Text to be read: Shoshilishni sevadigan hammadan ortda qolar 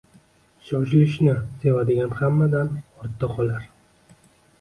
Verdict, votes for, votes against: accepted, 2, 0